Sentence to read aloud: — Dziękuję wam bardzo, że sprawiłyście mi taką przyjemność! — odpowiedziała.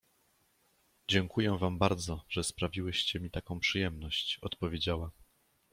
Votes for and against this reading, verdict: 2, 0, accepted